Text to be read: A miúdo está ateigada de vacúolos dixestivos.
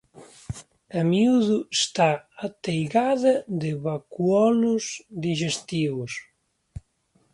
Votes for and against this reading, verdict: 2, 0, accepted